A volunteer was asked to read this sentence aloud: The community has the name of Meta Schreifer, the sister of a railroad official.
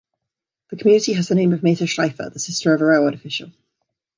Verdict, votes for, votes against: accepted, 2, 1